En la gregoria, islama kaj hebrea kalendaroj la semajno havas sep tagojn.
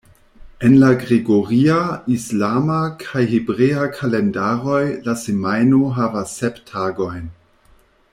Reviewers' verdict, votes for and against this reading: accepted, 2, 0